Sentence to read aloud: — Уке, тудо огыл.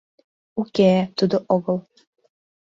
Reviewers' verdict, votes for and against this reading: accepted, 2, 0